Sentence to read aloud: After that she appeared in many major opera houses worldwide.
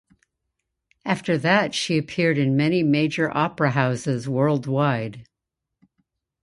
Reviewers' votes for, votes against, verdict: 2, 0, accepted